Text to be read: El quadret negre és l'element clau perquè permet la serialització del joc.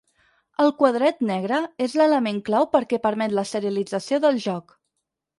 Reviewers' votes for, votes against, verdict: 6, 0, accepted